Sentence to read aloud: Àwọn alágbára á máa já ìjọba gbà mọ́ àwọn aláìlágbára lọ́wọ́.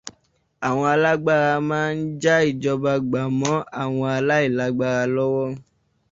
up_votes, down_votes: 0, 2